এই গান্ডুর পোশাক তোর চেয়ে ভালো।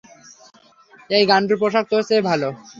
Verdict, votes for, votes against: accepted, 3, 0